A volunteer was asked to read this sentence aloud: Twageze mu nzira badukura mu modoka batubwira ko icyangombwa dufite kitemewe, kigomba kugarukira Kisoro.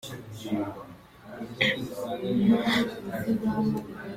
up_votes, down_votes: 1, 2